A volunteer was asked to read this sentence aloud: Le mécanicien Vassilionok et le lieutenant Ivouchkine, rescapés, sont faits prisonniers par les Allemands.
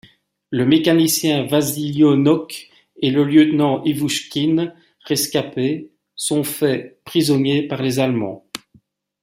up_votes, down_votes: 2, 0